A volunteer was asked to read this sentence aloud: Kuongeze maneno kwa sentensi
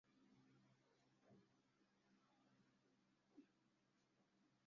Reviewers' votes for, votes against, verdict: 0, 2, rejected